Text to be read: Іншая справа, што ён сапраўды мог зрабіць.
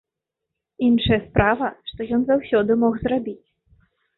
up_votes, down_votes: 1, 2